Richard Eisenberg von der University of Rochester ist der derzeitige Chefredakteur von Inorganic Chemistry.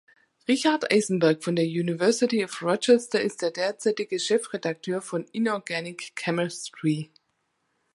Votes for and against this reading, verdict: 2, 0, accepted